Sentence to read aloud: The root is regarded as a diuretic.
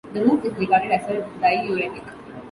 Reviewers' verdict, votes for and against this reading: accepted, 2, 0